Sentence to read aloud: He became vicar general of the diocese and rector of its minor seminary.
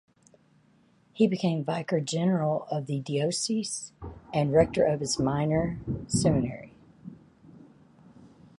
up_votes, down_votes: 2, 2